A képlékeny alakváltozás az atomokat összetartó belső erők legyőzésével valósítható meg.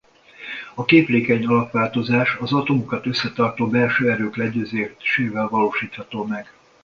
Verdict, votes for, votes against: rejected, 0, 2